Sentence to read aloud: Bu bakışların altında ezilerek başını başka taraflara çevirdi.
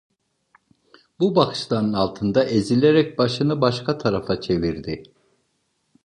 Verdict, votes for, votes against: rejected, 0, 2